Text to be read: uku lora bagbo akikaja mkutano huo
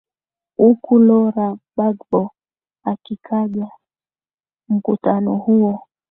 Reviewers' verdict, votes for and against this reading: accepted, 3, 0